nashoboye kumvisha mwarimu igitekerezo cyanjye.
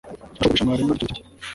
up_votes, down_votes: 1, 2